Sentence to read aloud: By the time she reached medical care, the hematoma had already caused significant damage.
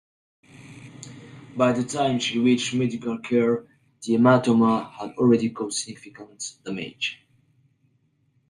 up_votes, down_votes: 1, 2